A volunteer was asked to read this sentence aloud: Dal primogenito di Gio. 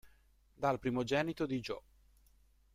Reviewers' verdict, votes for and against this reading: rejected, 1, 2